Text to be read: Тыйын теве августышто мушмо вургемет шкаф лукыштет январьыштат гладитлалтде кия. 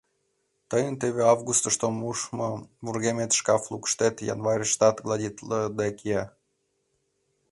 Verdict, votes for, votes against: rejected, 0, 2